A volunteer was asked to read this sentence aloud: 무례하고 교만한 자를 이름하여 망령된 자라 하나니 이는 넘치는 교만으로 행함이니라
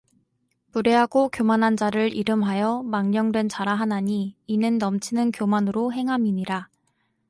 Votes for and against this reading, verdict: 2, 0, accepted